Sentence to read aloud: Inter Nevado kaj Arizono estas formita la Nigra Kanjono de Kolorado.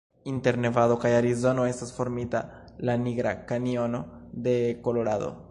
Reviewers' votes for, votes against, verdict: 2, 0, accepted